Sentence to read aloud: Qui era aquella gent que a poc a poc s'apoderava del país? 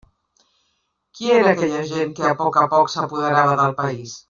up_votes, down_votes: 0, 2